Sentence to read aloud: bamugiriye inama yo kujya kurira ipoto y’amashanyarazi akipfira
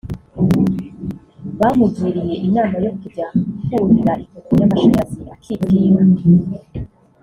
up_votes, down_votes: 0, 2